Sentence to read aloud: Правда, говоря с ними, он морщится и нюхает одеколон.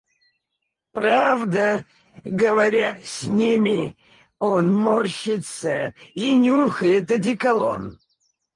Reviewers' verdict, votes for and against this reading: rejected, 0, 4